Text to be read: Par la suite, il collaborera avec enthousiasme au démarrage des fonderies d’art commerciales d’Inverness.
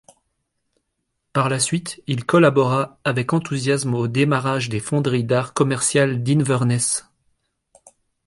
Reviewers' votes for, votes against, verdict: 0, 2, rejected